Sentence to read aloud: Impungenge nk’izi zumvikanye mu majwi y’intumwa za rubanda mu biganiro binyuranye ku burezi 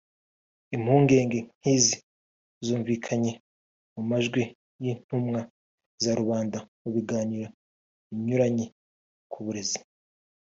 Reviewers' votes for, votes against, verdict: 2, 0, accepted